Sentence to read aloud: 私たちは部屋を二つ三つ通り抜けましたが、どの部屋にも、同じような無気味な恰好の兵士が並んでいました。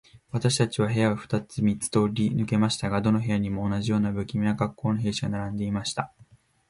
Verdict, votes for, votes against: accepted, 2, 0